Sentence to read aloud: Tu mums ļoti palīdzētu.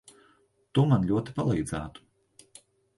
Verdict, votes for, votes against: rejected, 0, 2